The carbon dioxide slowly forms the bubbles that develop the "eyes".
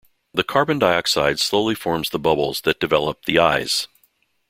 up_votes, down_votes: 2, 0